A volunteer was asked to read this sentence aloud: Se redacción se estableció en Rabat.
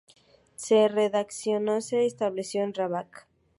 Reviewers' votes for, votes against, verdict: 2, 0, accepted